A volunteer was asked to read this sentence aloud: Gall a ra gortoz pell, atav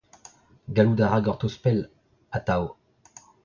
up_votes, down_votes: 0, 2